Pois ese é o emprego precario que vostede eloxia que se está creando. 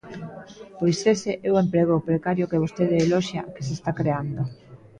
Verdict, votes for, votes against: accepted, 2, 0